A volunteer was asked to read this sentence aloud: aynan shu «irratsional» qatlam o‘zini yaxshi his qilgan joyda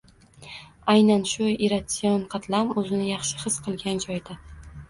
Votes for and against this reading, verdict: 1, 2, rejected